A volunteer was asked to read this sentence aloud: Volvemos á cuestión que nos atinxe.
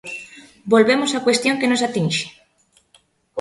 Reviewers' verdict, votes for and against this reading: accepted, 2, 0